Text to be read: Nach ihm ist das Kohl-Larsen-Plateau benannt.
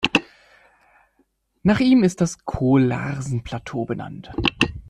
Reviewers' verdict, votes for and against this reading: accepted, 2, 0